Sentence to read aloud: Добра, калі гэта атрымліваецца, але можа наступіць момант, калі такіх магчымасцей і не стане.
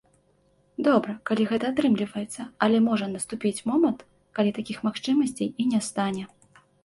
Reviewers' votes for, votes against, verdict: 2, 0, accepted